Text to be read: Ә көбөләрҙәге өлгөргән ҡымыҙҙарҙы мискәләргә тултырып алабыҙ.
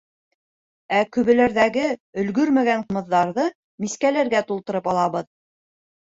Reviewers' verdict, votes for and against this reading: rejected, 0, 2